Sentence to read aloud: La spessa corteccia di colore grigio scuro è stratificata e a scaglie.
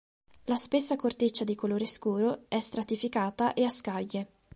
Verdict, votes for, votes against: rejected, 1, 2